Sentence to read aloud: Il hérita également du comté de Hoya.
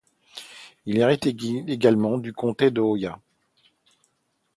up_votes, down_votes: 0, 2